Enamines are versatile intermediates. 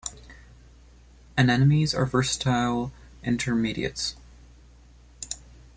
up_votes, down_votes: 0, 2